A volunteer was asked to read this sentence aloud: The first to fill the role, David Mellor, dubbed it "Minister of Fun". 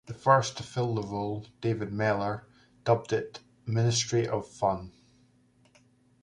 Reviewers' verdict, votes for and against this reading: rejected, 1, 2